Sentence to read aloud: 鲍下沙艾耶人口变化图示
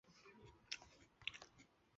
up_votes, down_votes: 4, 5